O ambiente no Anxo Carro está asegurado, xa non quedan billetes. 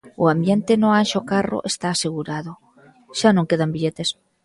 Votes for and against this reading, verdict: 2, 0, accepted